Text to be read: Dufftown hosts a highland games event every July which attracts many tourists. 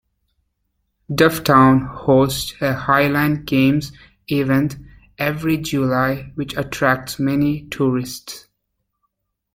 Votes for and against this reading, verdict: 2, 0, accepted